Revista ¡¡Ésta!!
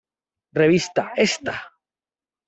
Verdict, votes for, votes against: accepted, 2, 1